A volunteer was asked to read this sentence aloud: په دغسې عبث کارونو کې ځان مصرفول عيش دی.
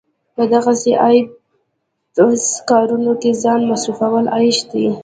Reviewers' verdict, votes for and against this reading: accepted, 2, 1